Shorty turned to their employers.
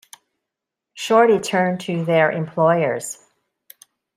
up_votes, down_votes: 1, 2